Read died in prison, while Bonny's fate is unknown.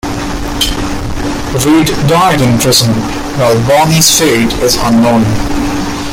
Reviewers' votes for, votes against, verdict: 1, 3, rejected